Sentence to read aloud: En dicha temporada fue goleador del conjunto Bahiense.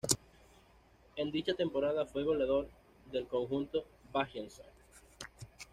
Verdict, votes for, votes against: rejected, 1, 2